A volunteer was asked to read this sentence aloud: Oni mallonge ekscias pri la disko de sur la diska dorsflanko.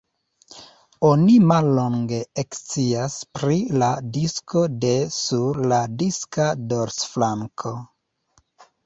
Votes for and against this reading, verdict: 2, 0, accepted